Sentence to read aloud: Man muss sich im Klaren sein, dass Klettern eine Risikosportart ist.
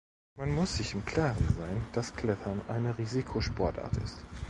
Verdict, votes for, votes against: rejected, 1, 2